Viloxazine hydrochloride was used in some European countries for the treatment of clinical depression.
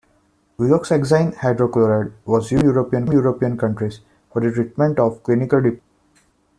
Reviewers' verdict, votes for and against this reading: rejected, 0, 2